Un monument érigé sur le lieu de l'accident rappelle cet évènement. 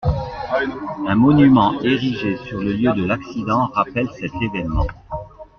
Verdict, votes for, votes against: accepted, 2, 1